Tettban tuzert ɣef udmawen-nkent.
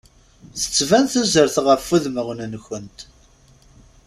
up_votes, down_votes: 2, 0